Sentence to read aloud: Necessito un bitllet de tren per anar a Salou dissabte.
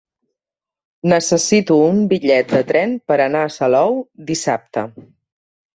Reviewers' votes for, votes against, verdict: 2, 0, accepted